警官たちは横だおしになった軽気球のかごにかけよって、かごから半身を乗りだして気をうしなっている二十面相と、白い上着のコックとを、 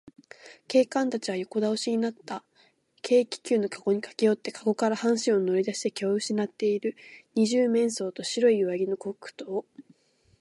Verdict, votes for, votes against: accepted, 2, 0